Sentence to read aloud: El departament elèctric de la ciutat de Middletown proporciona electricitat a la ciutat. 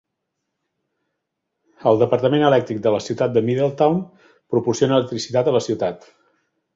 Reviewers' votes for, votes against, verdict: 3, 0, accepted